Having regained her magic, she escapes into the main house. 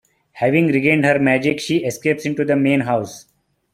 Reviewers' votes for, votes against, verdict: 2, 0, accepted